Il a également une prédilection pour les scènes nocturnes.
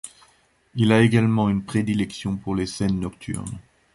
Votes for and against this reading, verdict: 2, 0, accepted